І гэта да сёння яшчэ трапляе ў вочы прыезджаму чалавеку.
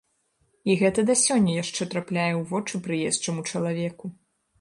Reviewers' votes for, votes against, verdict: 1, 3, rejected